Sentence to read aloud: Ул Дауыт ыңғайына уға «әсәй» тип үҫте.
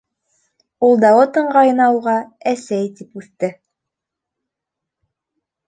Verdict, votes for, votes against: accepted, 2, 0